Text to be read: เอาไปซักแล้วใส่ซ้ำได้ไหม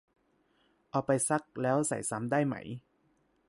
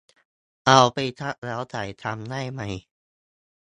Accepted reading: first